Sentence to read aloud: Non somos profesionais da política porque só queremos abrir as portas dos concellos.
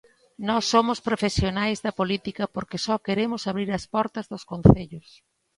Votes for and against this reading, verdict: 1, 2, rejected